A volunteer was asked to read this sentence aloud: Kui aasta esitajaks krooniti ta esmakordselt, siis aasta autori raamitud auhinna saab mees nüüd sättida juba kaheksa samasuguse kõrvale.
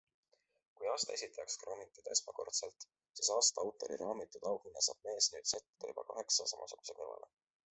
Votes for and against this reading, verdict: 2, 0, accepted